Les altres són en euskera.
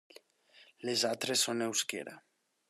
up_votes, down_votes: 0, 2